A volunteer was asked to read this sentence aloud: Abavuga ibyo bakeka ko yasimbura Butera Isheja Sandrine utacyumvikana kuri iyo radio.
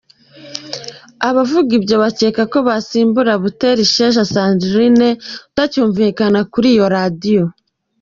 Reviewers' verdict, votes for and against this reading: accepted, 2, 1